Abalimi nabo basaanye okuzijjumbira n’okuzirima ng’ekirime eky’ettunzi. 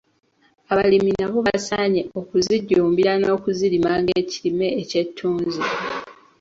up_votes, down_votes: 2, 0